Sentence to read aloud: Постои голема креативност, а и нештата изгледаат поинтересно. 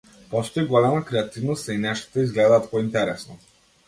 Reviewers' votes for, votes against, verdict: 2, 0, accepted